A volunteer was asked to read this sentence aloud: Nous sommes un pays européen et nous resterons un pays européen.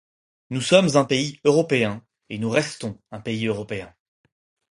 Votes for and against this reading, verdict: 2, 4, rejected